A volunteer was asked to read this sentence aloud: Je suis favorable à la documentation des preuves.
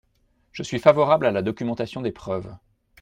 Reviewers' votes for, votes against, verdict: 2, 0, accepted